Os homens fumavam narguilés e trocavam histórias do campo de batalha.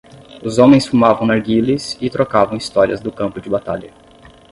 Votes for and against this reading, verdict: 5, 0, accepted